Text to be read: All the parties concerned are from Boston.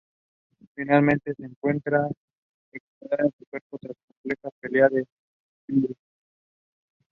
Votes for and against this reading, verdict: 1, 2, rejected